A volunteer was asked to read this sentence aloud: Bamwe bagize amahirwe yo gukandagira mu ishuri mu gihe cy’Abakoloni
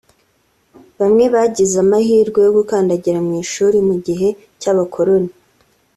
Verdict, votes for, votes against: accepted, 2, 1